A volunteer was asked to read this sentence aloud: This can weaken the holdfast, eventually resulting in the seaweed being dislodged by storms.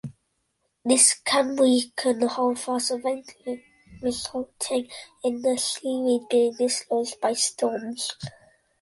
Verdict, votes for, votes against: rejected, 0, 2